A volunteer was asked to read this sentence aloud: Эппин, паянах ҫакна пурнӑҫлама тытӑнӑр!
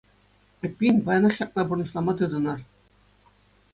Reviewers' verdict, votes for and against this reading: accepted, 2, 0